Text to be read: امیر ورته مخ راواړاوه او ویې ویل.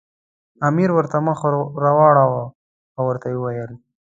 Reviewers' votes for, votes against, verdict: 0, 2, rejected